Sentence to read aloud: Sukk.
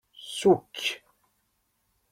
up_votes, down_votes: 3, 0